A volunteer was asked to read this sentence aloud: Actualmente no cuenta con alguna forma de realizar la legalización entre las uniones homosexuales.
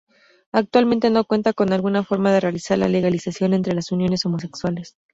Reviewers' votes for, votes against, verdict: 2, 0, accepted